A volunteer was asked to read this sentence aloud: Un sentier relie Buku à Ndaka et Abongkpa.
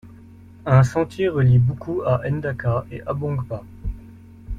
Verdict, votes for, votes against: accepted, 2, 1